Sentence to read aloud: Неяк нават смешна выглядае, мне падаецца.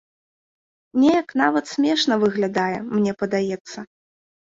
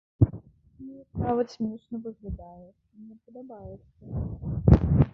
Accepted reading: first